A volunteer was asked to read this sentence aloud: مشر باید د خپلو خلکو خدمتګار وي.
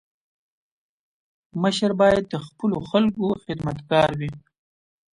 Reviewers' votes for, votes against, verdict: 2, 0, accepted